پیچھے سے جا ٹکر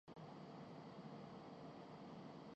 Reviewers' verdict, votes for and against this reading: rejected, 0, 3